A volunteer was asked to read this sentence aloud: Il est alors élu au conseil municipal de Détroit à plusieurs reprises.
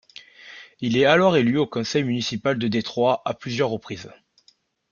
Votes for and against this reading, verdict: 2, 0, accepted